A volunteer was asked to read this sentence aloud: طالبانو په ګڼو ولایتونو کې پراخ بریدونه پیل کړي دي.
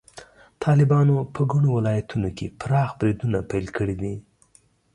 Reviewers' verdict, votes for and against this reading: accepted, 3, 2